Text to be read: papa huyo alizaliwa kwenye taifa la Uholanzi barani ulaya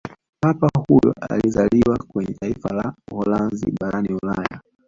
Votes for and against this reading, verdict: 1, 2, rejected